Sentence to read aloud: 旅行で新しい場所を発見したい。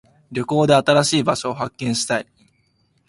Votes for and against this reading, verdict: 2, 0, accepted